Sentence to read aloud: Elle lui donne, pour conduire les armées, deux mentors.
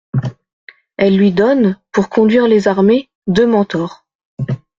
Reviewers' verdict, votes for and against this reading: accepted, 2, 0